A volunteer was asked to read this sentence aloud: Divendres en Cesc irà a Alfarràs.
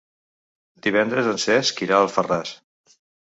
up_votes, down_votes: 5, 0